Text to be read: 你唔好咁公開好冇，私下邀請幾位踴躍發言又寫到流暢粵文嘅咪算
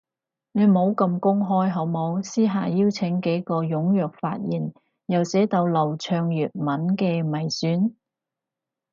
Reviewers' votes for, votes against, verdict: 2, 4, rejected